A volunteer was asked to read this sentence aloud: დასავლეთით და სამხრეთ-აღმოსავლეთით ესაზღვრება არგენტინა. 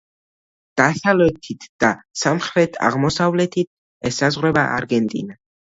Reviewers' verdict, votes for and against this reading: accepted, 2, 1